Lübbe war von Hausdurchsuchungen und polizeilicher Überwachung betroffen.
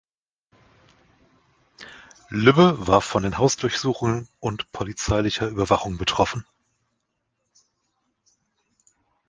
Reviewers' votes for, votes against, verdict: 0, 2, rejected